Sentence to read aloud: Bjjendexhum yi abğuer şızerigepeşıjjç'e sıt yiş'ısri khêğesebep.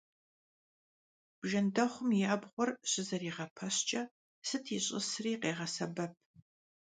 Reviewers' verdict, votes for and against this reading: accepted, 2, 0